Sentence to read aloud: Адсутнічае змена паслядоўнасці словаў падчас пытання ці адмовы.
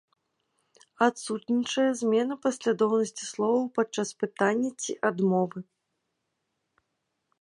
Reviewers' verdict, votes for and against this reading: accepted, 2, 0